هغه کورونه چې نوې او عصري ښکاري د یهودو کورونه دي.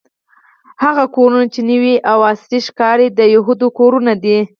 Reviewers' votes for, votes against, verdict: 0, 4, rejected